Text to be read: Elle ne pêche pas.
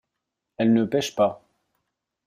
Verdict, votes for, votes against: accepted, 2, 0